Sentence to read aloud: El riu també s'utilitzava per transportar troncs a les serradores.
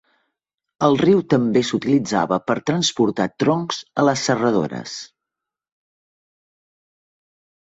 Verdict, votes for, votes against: accepted, 4, 0